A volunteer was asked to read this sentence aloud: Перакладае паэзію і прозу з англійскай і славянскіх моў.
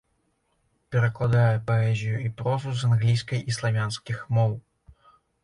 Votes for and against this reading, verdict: 2, 0, accepted